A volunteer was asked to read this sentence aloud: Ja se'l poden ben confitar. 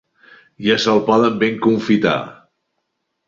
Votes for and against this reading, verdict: 2, 0, accepted